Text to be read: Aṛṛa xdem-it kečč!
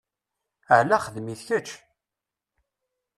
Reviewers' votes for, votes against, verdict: 0, 2, rejected